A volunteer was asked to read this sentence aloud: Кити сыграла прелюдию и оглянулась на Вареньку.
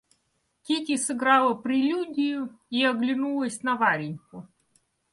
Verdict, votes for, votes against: accepted, 2, 0